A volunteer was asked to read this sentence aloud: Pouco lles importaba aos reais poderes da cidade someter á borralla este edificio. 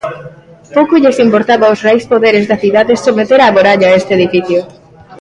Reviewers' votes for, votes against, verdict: 0, 2, rejected